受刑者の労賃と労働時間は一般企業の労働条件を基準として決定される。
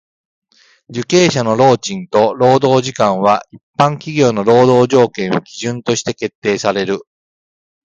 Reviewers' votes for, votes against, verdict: 2, 0, accepted